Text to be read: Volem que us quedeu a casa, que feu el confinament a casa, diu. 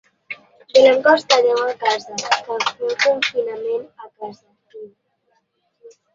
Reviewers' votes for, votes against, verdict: 0, 2, rejected